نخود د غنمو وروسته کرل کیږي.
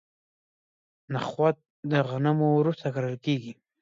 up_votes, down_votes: 2, 0